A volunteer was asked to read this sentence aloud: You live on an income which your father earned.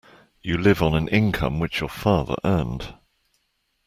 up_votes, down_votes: 2, 0